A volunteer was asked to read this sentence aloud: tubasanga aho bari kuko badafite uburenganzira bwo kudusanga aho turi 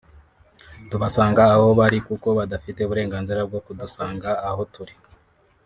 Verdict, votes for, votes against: accepted, 2, 1